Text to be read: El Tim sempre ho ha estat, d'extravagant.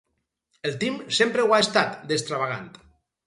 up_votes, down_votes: 2, 0